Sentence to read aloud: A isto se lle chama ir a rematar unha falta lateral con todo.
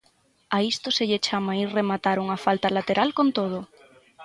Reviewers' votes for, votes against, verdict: 3, 3, rejected